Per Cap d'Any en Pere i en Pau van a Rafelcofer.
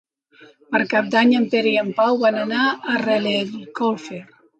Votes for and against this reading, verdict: 1, 2, rejected